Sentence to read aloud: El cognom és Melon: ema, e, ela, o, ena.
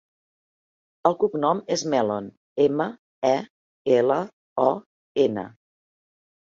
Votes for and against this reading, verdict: 3, 0, accepted